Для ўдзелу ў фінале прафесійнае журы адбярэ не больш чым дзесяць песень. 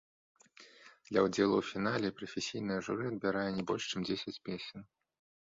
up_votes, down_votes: 4, 1